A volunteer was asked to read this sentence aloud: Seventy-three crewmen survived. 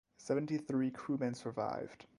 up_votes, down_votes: 2, 2